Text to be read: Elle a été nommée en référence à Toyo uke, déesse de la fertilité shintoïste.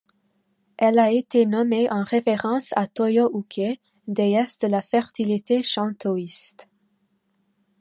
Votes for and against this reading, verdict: 1, 2, rejected